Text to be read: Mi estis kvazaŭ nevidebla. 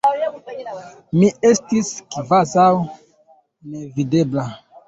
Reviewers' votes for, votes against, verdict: 2, 1, accepted